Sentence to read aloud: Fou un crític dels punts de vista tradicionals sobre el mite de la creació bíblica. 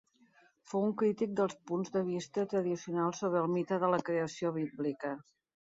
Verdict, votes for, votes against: accepted, 2, 0